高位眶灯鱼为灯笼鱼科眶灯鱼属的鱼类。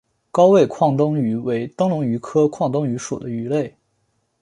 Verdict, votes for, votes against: accepted, 2, 0